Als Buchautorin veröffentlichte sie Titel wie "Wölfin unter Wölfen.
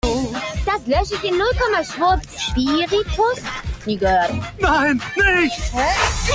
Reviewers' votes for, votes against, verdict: 0, 2, rejected